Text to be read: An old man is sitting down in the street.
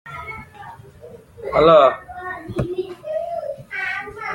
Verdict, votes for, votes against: rejected, 0, 2